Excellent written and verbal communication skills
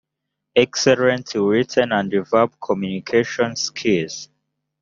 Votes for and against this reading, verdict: 1, 2, rejected